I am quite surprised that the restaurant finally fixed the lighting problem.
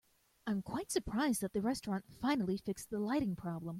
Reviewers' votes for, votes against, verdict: 1, 2, rejected